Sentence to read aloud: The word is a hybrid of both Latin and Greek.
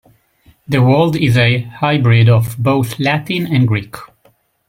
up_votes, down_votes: 0, 2